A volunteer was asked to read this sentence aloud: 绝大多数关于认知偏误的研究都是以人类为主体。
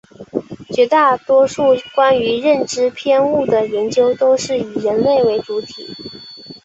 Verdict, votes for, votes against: accepted, 9, 0